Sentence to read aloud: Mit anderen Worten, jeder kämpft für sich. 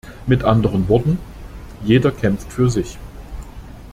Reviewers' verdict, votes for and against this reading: accepted, 2, 0